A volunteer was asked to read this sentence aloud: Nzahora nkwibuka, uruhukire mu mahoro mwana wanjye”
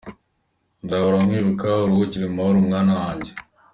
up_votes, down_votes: 2, 0